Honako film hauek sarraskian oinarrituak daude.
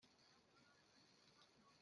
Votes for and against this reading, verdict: 0, 2, rejected